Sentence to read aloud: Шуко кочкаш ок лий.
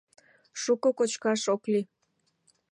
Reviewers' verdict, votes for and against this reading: accepted, 2, 0